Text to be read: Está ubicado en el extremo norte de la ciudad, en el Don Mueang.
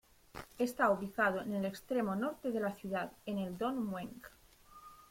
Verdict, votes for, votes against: accepted, 2, 0